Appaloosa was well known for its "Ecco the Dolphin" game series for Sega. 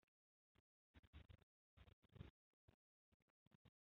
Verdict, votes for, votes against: rejected, 0, 2